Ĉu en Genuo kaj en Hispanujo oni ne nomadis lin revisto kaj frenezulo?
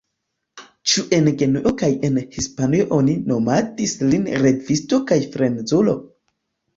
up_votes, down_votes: 1, 2